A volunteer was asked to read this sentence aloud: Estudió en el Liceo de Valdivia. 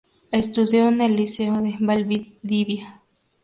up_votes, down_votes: 2, 0